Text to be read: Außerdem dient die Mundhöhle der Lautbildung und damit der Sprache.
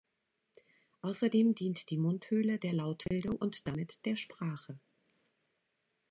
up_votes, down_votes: 2, 0